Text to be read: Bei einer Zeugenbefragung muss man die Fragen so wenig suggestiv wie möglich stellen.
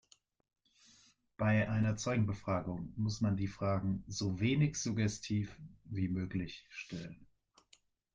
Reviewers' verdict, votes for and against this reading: accepted, 2, 1